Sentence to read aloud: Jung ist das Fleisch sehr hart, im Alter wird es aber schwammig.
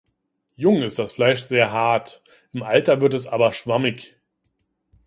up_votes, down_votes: 2, 0